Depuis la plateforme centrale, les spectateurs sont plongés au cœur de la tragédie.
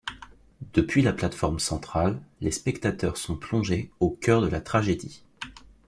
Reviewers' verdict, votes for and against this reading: accepted, 2, 0